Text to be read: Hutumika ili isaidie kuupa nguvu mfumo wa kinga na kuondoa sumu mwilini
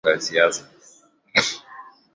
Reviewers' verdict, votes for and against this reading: rejected, 0, 2